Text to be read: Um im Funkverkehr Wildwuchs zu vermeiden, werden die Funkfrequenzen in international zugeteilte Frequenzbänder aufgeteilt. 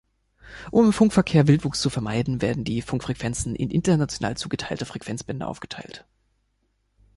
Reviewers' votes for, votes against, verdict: 2, 0, accepted